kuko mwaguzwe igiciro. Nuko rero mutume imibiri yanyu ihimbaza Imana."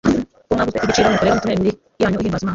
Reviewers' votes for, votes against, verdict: 1, 2, rejected